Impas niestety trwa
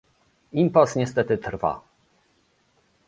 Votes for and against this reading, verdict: 2, 0, accepted